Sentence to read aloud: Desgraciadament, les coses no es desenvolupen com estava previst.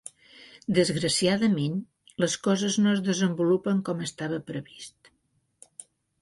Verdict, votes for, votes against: accepted, 4, 0